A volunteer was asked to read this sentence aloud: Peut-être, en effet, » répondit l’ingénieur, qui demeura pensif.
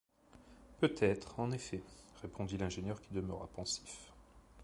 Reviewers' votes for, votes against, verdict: 2, 0, accepted